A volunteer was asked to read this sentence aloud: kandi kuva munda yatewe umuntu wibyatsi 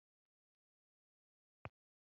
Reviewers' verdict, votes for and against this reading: rejected, 0, 2